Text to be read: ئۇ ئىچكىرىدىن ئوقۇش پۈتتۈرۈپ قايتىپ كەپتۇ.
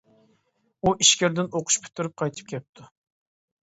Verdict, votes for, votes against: accepted, 2, 1